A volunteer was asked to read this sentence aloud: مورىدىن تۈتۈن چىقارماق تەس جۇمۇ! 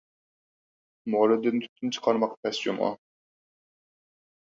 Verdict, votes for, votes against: accepted, 4, 0